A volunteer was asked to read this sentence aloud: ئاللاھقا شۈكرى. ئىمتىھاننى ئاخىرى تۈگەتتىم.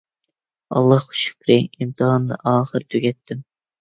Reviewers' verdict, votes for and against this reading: rejected, 1, 2